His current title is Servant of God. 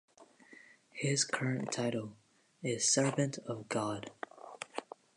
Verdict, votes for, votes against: accepted, 2, 0